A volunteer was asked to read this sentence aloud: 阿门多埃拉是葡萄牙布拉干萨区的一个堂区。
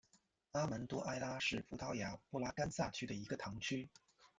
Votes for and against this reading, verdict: 1, 2, rejected